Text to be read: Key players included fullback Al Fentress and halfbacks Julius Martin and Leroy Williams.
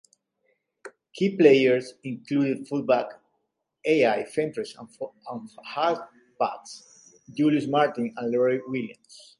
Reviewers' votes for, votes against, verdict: 0, 2, rejected